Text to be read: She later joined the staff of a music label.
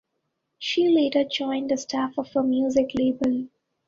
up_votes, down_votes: 2, 1